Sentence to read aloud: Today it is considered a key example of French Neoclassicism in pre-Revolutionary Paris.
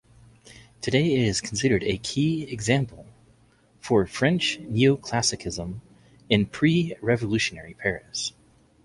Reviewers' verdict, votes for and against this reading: rejected, 0, 2